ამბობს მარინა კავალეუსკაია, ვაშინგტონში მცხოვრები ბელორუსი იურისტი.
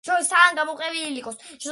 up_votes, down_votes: 0, 2